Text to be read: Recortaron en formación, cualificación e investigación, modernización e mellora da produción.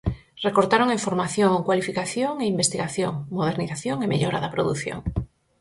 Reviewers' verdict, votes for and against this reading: accepted, 4, 0